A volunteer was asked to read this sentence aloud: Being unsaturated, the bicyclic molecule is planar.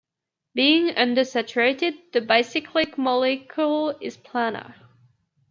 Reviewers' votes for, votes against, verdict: 0, 2, rejected